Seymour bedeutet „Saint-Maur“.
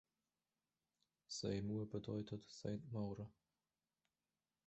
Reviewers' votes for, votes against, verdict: 1, 2, rejected